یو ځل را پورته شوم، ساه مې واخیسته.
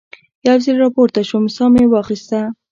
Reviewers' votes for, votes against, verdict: 2, 0, accepted